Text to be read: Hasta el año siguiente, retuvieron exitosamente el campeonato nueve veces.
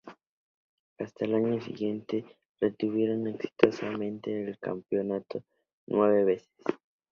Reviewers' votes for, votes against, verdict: 2, 0, accepted